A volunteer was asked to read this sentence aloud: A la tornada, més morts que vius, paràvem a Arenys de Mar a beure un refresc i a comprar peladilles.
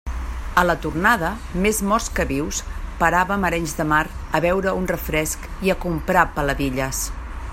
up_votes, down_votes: 1, 2